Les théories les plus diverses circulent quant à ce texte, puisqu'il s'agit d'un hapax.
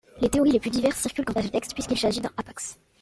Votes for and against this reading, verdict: 0, 2, rejected